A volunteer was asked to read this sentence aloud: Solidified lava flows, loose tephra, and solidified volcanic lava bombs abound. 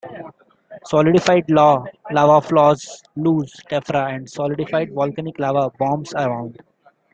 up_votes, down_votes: 2, 1